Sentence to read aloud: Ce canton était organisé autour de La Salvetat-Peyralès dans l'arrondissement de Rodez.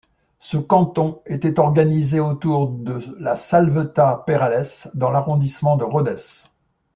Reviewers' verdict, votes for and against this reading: rejected, 1, 2